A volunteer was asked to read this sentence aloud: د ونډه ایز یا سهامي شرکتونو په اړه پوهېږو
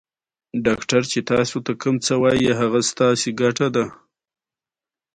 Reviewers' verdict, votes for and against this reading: rejected, 0, 2